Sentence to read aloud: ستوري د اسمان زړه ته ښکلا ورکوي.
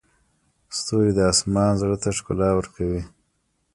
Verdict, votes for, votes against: rejected, 1, 2